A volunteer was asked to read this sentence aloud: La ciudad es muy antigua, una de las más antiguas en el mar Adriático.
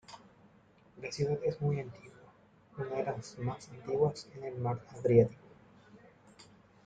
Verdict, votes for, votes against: rejected, 0, 2